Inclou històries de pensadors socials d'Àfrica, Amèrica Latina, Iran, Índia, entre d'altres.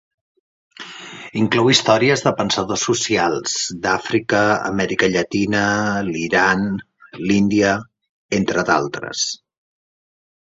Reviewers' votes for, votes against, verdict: 1, 2, rejected